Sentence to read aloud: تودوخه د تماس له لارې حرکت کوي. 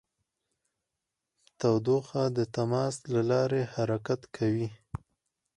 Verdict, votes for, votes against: accepted, 4, 0